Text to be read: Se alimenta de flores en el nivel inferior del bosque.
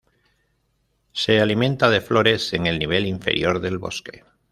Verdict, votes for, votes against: accepted, 2, 0